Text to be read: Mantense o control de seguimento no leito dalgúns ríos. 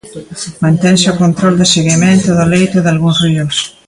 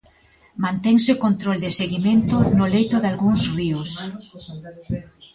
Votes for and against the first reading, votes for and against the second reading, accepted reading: 0, 2, 2, 0, second